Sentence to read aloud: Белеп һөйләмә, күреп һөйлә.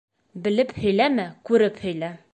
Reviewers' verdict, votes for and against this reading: accepted, 2, 0